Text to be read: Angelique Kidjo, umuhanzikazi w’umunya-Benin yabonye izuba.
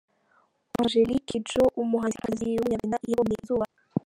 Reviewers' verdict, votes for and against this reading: rejected, 1, 2